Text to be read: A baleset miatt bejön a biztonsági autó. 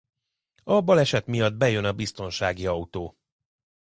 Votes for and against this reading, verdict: 2, 1, accepted